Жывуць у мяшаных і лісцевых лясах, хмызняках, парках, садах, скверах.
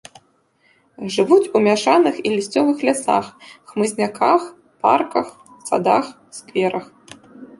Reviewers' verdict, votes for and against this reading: rejected, 1, 2